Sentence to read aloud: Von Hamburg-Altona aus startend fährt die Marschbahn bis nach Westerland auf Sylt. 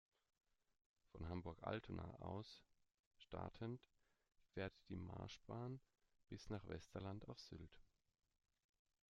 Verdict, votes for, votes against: accepted, 2, 0